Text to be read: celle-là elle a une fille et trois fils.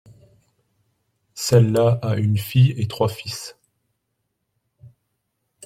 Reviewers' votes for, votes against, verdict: 0, 2, rejected